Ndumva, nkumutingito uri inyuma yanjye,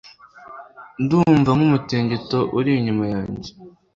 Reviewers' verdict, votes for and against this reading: accepted, 2, 0